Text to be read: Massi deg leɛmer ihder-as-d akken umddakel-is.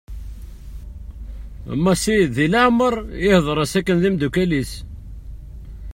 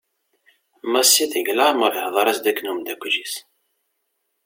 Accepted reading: second